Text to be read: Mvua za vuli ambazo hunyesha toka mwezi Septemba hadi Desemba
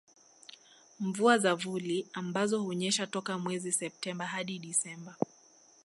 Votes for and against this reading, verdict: 2, 0, accepted